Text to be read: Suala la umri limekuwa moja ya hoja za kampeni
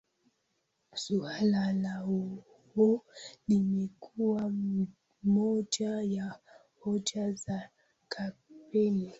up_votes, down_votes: 0, 2